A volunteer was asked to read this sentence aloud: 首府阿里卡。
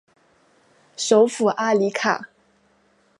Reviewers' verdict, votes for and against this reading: accepted, 2, 0